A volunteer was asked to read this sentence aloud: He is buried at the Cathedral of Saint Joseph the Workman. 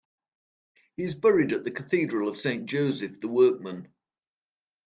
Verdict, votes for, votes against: rejected, 1, 2